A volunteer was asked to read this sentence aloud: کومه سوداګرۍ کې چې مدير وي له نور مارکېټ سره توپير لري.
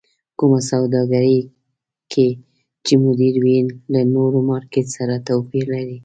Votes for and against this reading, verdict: 2, 0, accepted